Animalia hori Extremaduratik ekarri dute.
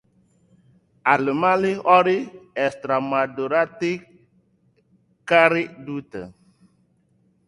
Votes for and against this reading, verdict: 0, 2, rejected